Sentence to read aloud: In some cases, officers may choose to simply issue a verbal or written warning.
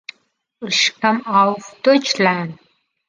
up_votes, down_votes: 0, 2